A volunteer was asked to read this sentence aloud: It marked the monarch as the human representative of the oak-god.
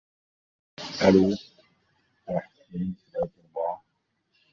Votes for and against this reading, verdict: 0, 2, rejected